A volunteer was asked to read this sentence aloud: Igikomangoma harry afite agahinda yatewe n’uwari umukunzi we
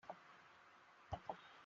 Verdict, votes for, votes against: rejected, 0, 2